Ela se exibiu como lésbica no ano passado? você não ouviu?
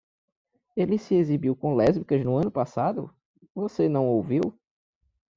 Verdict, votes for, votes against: rejected, 0, 2